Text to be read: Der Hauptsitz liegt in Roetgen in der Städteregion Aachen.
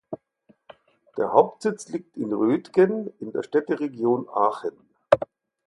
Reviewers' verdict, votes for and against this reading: accepted, 4, 0